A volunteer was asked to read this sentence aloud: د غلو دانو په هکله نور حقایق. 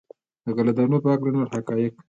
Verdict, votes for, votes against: accepted, 2, 0